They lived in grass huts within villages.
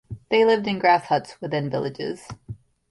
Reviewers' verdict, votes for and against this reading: accepted, 2, 0